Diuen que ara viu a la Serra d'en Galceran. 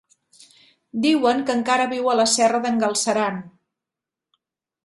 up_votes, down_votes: 0, 2